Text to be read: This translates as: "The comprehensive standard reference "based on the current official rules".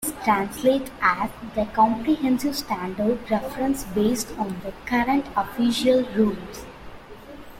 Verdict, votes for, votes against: rejected, 1, 2